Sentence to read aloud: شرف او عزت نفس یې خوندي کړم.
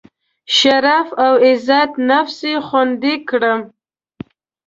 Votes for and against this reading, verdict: 2, 0, accepted